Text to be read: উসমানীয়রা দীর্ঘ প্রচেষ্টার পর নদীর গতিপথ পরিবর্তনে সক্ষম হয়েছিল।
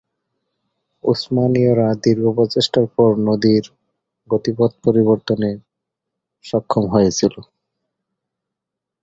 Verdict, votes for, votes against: accepted, 4, 0